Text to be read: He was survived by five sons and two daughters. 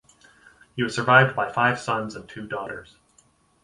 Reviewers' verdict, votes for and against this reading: rejected, 2, 2